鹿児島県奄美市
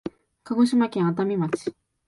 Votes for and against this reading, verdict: 1, 2, rejected